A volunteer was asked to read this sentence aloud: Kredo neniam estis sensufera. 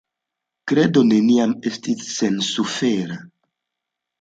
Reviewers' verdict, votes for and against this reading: accepted, 2, 0